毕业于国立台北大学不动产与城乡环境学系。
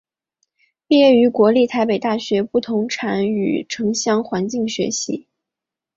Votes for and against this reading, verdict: 5, 0, accepted